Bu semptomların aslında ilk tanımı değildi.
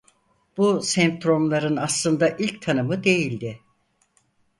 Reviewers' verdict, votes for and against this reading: rejected, 2, 4